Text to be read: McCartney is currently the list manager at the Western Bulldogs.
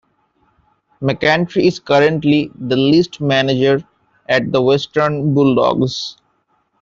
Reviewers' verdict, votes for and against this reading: rejected, 1, 2